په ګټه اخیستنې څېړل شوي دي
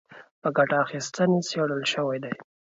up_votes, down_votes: 1, 2